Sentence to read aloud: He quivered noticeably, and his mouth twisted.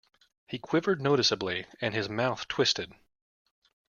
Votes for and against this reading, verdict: 2, 0, accepted